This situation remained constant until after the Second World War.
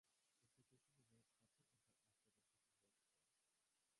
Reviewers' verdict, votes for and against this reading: rejected, 0, 2